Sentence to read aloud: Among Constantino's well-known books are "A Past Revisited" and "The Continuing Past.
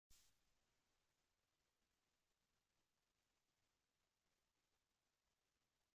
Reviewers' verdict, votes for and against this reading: rejected, 0, 2